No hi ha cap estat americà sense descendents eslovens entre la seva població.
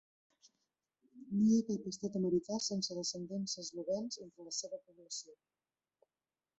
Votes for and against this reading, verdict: 0, 2, rejected